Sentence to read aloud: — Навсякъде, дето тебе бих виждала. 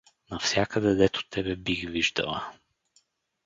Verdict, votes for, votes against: accepted, 4, 0